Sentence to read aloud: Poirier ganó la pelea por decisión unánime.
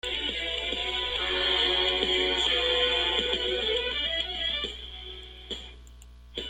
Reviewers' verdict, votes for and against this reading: rejected, 0, 2